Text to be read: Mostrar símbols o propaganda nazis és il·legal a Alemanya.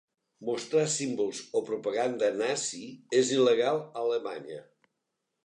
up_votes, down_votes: 1, 2